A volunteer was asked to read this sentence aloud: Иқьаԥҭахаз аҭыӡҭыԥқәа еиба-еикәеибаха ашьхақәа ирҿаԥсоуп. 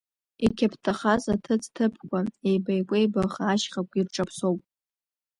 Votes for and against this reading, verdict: 0, 2, rejected